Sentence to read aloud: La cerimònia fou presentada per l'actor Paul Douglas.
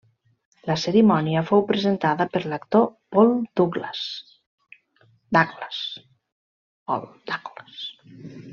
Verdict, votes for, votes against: rejected, 0, 2